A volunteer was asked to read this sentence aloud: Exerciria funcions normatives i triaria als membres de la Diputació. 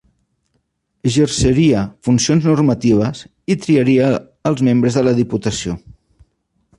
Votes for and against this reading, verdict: 1, 2, rejected